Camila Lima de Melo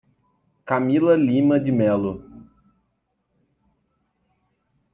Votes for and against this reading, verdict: 2, 0, accepted